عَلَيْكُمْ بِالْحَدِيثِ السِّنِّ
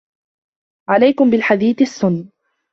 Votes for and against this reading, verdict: 0, 2, rejected